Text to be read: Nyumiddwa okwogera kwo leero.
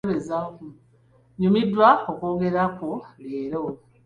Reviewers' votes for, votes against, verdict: 1, 3, rejected